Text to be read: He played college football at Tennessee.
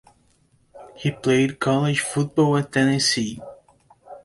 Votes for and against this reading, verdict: 2, 0, accepted